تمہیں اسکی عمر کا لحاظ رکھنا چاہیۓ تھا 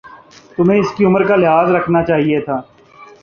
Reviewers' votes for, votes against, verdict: 2, 0, accepted